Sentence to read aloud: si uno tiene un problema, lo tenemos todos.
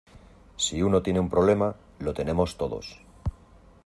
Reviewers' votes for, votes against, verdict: 2, 0, accepted